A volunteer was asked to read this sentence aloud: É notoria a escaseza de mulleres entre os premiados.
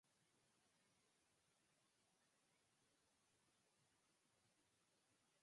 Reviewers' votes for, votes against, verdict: 2, 4, rejected